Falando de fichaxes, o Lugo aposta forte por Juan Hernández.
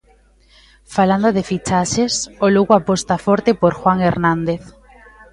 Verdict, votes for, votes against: accepted, 2, 0